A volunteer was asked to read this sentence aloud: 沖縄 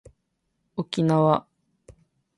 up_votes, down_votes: 2, 0